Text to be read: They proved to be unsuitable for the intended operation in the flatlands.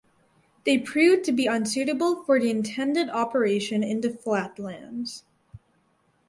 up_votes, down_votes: 4, 0